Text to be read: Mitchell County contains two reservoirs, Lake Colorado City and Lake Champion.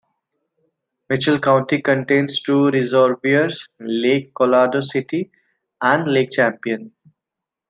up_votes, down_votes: 2, 0